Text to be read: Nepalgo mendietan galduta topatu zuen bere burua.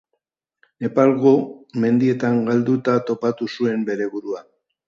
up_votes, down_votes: 3, 0